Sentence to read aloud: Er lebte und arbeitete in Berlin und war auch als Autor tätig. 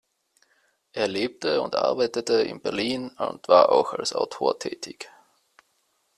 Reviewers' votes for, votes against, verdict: 2, 0, accepted